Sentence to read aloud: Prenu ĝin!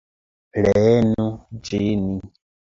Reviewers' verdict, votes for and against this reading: rejected, 0, 2